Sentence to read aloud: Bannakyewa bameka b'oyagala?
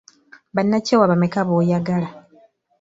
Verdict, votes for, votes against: accepted, 2, 0